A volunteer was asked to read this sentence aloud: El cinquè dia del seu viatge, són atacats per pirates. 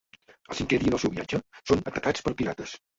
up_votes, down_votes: 1, 2